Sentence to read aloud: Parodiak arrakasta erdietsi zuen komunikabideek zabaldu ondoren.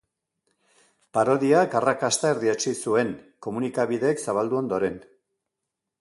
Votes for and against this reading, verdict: 2, 0, accepted